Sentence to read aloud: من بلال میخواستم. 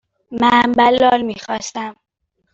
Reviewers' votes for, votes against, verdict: 2, 0, accepted